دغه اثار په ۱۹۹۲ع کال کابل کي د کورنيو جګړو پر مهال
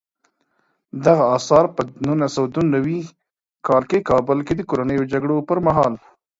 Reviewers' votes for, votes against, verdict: 0, 2, rejected